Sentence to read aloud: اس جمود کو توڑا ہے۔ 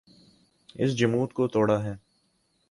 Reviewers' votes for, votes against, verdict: 8, 0, accepted